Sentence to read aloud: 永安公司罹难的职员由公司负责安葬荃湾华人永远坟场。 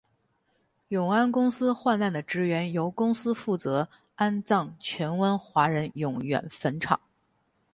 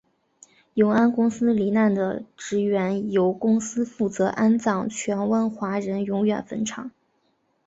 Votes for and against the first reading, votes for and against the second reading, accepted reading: 0, 4, 2, 0, second